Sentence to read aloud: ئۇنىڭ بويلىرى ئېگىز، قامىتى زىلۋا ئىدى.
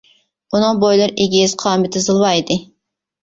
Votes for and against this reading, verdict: 2, 0, accepted